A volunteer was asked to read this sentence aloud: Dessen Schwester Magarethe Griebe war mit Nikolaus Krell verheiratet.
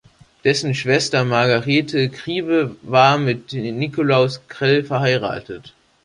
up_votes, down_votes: 2, 1